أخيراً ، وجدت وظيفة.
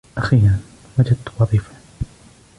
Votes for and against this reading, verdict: 2, 1, accepted